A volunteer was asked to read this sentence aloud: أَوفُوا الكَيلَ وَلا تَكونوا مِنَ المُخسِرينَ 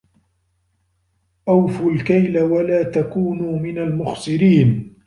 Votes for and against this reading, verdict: 1, 2, rejected